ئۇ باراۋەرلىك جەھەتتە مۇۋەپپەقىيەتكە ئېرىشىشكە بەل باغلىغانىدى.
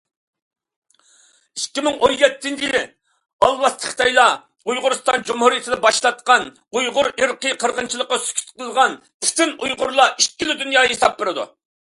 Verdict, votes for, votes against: rejected, 0, 2